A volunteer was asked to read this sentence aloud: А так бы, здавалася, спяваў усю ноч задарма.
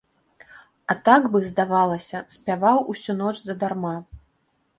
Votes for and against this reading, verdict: 2, 0, accepted